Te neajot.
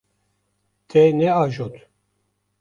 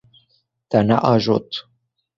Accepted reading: second